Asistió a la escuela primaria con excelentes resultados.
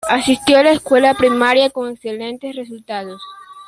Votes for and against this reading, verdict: 2, 1, accepted